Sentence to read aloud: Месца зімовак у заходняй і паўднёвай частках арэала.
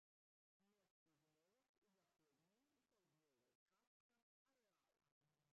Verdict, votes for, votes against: rejected, 0, 2